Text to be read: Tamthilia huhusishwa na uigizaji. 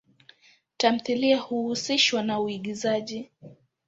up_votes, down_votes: 2, 0